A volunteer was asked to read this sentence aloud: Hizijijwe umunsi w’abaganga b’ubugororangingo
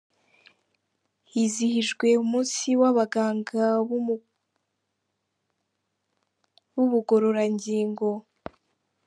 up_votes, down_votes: 0, 2